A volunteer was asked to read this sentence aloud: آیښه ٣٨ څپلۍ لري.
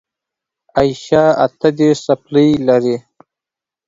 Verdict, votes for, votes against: rejected, 0, 2